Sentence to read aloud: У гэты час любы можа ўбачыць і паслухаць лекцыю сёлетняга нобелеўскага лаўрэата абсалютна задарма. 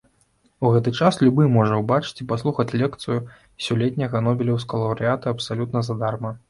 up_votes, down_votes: 0, 2